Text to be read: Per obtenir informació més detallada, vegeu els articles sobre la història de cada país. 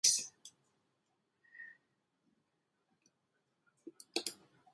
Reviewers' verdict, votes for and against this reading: rejected, 0, 4